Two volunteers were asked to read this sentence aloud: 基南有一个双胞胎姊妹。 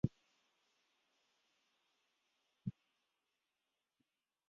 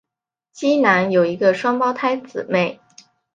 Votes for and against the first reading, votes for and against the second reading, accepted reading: 0, 2, 3, 0, second